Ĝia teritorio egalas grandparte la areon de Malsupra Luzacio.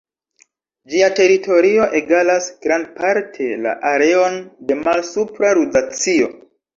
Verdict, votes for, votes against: rejected, 1, 2